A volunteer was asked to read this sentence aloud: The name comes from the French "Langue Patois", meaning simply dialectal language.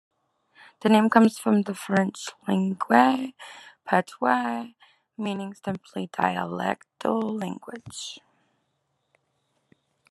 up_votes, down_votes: 2, 0